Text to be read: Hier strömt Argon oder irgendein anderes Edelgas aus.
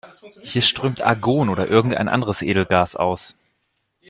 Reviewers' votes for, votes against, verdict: 0, 2, rejected